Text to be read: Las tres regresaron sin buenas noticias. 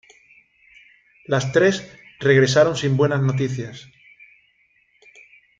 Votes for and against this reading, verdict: 2, 0, accepted